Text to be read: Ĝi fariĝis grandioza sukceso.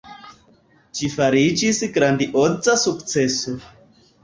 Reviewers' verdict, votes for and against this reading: accepted, 3, 0